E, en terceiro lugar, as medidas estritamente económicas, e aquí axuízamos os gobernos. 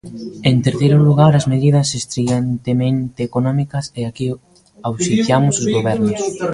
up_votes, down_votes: 0, 2